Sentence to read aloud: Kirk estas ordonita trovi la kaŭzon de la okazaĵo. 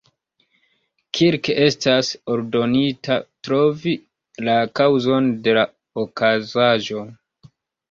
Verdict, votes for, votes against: accepted, 2, 0